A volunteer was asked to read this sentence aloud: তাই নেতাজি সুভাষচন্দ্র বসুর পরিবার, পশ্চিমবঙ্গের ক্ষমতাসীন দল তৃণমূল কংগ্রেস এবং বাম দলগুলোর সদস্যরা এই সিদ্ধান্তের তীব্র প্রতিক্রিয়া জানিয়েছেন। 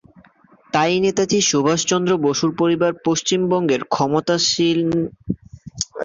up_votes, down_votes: 0, 2